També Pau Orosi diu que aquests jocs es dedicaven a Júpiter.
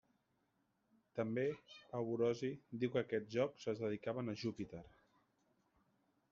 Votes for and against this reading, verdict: 2, 1, accepted